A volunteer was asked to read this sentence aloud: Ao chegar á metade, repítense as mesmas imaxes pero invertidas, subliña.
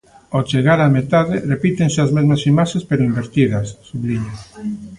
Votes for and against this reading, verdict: 3, 0, accepted